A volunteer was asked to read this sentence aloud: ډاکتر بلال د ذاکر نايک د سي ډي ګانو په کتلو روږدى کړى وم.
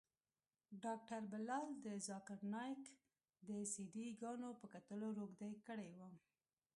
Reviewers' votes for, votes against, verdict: 1, 2, rejected